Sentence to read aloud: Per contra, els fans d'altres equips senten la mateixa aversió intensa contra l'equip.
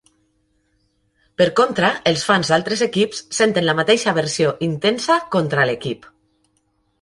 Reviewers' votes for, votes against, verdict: 3, 0, accepted